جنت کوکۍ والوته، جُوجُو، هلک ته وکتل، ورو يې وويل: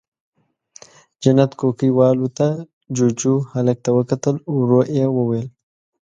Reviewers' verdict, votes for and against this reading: accepted, 2, 0